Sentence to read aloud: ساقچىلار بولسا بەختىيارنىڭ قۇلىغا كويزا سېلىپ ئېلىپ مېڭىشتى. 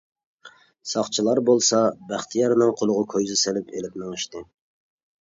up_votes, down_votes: 2, 1